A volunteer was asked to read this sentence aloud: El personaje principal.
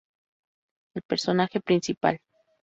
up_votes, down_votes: 2, 0